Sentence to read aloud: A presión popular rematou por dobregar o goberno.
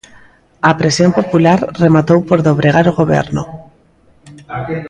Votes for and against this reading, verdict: 1, 2, rejected